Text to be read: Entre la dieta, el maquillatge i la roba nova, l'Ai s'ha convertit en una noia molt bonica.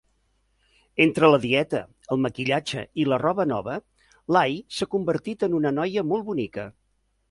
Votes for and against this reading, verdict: 6, 0, accepted